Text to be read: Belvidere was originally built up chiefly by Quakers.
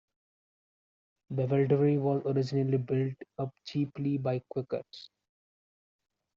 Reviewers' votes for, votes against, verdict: 0, 2, rejected